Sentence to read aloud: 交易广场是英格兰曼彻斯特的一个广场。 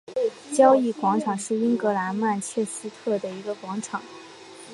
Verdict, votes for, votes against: accepted, 2, 1